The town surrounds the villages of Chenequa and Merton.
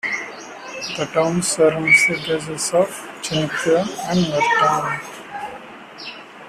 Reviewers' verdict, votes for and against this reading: rejected, 0, 2